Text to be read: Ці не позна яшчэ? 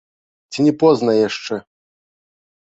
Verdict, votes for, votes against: accepted, 2, 0